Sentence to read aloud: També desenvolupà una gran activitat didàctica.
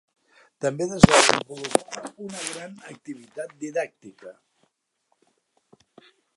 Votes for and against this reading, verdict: 0, 2, rejected